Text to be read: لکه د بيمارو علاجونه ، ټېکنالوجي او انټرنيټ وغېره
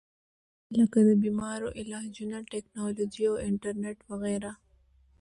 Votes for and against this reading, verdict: 2, 1, accepted